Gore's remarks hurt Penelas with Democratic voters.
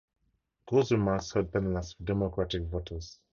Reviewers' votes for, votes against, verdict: 0, 2, rejected